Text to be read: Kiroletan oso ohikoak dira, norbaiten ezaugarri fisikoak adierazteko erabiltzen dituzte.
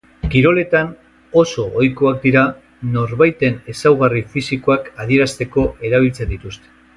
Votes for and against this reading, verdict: 2, 0, accepted